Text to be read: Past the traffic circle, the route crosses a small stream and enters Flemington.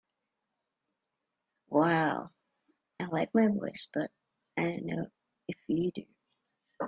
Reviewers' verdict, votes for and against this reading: rejected, 0, 3